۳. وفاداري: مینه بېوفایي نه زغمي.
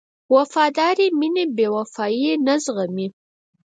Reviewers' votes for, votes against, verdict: 0, 2, rejected